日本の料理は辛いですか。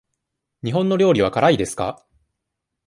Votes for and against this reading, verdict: 2, 0, accepted